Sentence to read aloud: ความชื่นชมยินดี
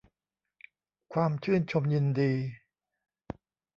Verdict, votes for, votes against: accepted, 2, 0